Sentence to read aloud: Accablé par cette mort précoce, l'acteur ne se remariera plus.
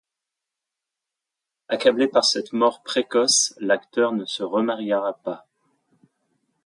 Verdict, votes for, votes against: accepted, 2, 1